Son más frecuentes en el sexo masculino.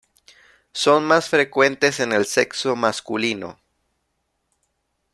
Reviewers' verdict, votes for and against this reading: accepted, 2, 0